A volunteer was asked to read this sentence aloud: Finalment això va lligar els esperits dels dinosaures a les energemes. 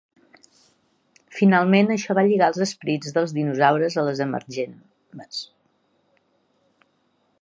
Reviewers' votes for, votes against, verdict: 2, 1, accepted